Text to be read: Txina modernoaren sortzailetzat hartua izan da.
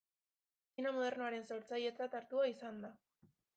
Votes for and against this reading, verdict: 1, 2, rejected